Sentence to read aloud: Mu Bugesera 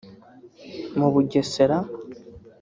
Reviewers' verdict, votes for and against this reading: rejected, 1, 2